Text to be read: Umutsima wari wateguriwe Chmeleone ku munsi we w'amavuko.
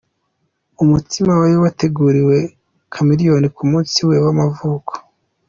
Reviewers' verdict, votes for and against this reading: accepted, 2, 0